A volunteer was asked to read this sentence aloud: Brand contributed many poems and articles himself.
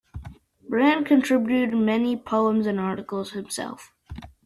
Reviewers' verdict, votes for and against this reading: accepted, 2, 0